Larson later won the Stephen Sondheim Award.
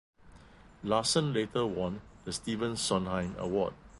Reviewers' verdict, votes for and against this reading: accepted, 2, 1